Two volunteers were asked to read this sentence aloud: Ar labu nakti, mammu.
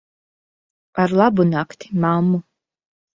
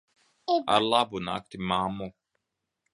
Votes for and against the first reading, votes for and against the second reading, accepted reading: 2, 0, 1, 2, first